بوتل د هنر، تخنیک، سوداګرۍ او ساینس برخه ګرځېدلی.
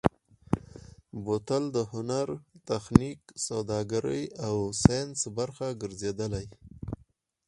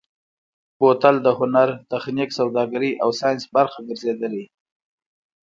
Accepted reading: first